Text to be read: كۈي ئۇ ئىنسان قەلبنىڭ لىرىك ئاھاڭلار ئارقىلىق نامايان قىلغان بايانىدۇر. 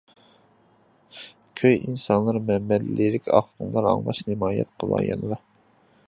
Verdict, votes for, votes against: rejected, 0, 2